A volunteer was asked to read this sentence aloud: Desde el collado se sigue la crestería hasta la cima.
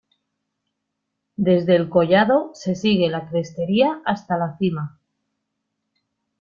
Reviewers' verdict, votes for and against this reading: accepted, 2, 1